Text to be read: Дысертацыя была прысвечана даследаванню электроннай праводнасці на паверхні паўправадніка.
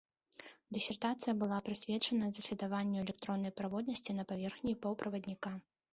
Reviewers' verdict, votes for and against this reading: rejected, 1, 2